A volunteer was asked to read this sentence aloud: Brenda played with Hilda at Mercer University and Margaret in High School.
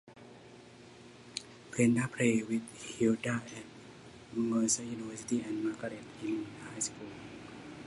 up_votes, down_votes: 0, 2